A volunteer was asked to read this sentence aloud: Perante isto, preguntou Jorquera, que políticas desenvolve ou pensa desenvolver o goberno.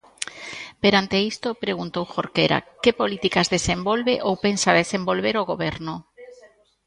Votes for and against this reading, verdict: 0, 2, rejected